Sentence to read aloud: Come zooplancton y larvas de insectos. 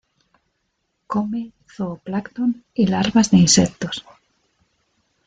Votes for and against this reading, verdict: 1, 2, rejected